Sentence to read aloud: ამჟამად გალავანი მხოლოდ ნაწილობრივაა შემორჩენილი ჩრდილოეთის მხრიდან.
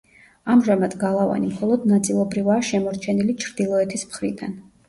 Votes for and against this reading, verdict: 2, 0, accepted